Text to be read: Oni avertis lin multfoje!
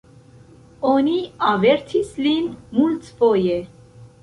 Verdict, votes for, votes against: accepted, 2, 0